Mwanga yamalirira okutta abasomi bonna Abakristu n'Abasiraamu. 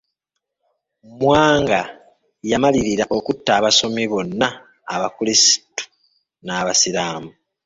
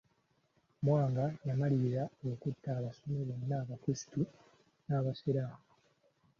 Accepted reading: second